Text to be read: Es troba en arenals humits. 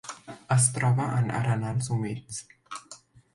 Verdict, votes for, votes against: accepted, 2, 0